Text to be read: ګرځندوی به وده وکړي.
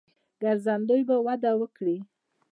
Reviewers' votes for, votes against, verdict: 0, 2, rejected